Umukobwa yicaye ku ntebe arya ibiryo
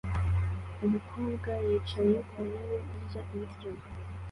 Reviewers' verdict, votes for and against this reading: accepted, 2, 0